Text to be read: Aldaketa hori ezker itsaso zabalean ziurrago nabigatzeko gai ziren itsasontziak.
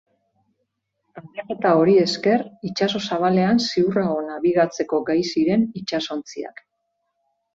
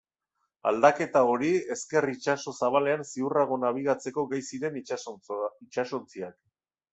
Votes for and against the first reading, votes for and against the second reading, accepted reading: 3, 2, 0, 2, first